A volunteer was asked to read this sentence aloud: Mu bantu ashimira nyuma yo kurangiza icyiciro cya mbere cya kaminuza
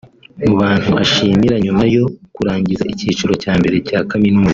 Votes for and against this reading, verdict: 1, 2, rejected